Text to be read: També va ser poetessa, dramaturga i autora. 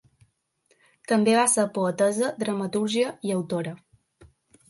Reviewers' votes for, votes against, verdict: 0, 2, rejected